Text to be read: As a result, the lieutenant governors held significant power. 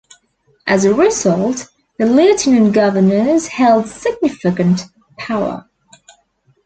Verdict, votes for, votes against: accepted, 2, 1